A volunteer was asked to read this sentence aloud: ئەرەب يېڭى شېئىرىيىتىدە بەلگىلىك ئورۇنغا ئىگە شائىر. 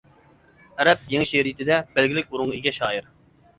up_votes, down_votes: 2, 0